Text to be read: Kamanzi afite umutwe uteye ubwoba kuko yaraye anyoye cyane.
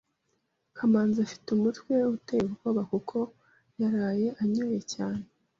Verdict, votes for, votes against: accepted, 2, 0